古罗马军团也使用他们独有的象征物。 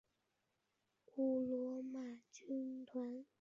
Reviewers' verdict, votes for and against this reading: rejected, 0, 2